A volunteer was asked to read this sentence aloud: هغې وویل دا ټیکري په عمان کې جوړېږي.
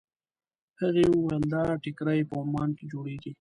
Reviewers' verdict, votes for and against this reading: rejected, 1, 2